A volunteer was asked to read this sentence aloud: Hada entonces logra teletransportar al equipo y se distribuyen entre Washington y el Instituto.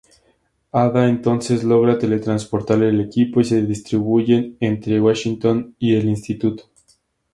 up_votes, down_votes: 2, 0